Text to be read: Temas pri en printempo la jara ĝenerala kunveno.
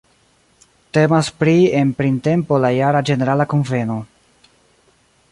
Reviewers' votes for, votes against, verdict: 1, 2, rejected